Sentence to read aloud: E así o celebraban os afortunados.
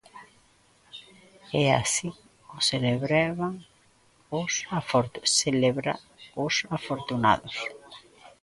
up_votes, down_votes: 0, 2